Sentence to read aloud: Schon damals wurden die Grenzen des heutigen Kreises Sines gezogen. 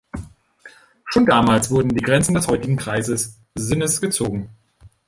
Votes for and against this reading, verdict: 0, 2, rejected